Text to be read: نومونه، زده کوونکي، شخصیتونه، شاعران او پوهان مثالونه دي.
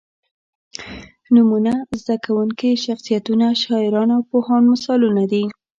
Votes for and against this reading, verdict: 2, 0, accepted